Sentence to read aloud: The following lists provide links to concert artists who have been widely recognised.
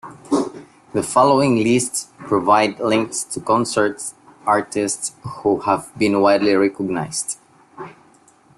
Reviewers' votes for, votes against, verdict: 0, 2, rejected